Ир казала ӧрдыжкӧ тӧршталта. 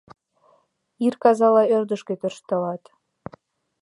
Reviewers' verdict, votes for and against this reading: rejected, 1, 2